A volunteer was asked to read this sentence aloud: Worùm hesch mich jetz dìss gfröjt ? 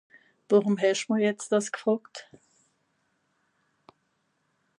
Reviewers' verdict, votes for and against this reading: accepted, 2, 0